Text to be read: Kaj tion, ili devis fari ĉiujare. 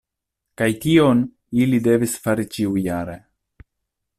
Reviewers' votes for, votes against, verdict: 2, 0, accepted